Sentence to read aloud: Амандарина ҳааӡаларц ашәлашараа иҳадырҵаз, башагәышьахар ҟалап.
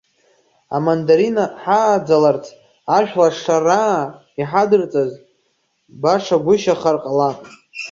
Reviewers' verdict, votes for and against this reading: rejected, 1, 2